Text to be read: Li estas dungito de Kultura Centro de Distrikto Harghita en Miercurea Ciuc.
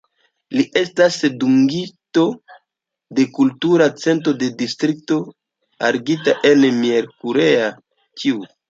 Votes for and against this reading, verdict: 2, 1, accepted